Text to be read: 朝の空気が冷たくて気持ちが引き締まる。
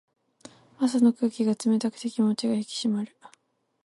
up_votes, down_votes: 2, 4